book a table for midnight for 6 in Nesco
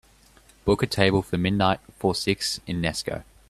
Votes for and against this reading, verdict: 0, 2, rejected